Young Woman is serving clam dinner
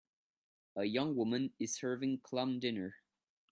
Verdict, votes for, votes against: rejected, 1, 2